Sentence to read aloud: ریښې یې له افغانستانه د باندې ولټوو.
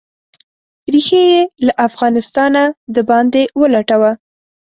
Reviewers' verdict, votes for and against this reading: rejected, 1, 2